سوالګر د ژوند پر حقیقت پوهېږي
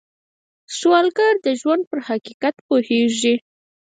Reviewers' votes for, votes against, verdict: 0, 4, rejected